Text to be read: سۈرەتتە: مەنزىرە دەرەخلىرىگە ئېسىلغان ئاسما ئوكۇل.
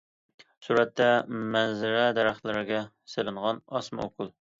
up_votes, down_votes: 1, 2